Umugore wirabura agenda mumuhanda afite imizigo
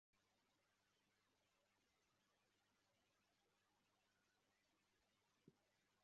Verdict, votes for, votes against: rejected, 0, 2